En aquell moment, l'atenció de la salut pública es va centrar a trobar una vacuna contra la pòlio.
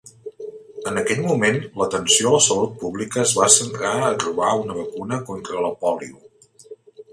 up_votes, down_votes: 0, 2